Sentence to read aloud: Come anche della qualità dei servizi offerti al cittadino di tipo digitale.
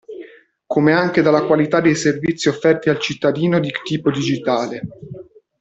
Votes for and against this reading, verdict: 1, 2, rejected